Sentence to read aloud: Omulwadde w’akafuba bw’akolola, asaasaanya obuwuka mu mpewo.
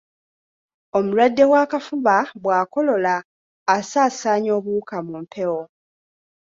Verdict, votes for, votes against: accepted, 2, 0